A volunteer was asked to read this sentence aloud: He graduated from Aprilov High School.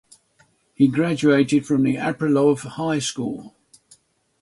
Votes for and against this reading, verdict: 6, 3, accepted